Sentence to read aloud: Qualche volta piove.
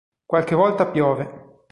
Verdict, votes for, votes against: accepted, 2, 0